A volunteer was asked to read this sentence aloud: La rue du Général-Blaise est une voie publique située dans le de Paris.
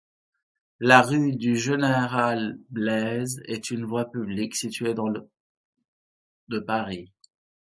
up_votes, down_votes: 2, 1